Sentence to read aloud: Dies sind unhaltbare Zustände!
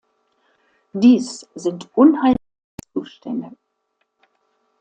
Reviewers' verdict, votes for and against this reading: rejected, 0, 2